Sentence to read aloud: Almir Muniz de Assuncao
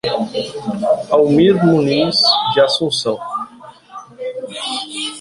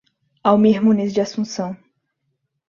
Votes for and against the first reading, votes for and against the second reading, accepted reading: 1, 2, 2, 0, second